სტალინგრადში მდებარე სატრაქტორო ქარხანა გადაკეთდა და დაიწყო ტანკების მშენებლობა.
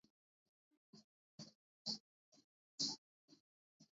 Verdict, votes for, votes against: rejected, 0, 2